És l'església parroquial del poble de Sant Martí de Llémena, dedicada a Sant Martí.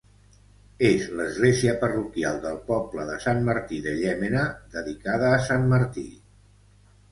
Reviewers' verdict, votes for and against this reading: accepted, 3, 0